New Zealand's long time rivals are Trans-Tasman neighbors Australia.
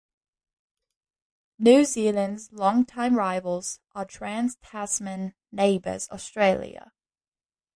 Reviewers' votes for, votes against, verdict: 2, 0, accepted